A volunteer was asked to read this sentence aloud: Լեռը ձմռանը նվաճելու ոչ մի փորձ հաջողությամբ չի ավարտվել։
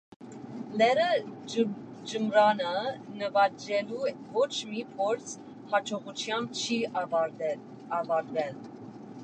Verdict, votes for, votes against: rejected, 0, 2